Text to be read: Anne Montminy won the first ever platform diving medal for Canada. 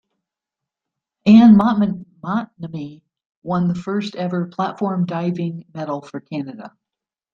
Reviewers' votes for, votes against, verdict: 0, 2, rejected